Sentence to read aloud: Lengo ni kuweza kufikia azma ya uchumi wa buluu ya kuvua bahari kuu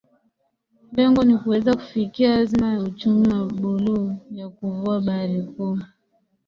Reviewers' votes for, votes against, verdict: 6, 1, accepted